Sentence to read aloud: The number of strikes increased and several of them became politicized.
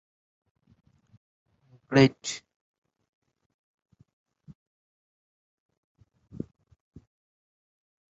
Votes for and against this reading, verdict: 0, 2, rejected